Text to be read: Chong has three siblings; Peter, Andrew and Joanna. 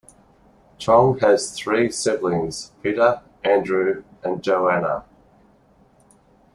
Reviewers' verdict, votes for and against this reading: accepted, 2, 0